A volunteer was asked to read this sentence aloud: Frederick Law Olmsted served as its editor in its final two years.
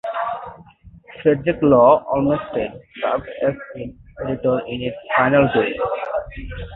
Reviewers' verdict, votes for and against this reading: accepted, 2, 0